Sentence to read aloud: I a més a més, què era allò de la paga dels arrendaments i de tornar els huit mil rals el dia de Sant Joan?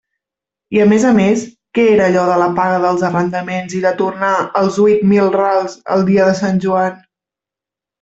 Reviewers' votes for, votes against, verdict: 0, 2, rejected